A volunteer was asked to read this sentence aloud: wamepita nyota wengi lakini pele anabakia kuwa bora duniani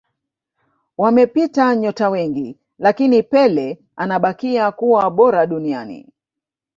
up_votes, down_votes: 0, 2